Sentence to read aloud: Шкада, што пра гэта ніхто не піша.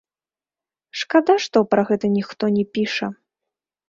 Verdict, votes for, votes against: rejected, 0, 2